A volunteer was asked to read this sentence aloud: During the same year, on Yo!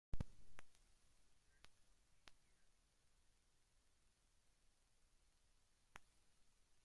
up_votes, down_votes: 0, 2